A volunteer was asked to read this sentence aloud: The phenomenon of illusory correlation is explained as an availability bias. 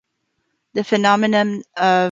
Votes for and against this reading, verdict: 0, 2, rejected